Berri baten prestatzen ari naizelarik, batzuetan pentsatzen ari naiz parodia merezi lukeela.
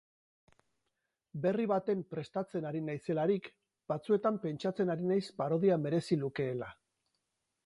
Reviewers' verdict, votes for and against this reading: rejected, 2, 2